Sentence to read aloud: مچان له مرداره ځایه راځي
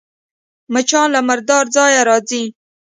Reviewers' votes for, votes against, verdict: 2, 0, accepted